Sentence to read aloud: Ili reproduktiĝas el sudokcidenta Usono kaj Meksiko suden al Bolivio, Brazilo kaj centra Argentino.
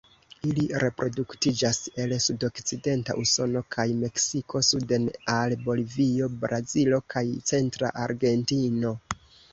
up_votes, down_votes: 2, 0